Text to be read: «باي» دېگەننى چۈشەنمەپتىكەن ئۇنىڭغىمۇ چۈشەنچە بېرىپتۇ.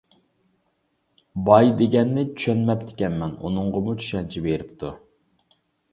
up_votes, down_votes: 1, 2